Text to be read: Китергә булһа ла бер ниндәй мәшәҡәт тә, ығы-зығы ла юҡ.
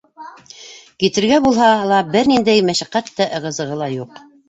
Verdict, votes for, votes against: rejected, 1, 2